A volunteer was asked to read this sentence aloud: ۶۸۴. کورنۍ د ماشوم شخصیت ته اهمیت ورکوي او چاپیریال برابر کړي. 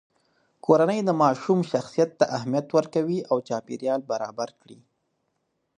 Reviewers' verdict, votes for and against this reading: rejected, 0, 2